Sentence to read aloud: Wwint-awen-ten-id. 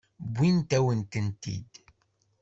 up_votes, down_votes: 1, 2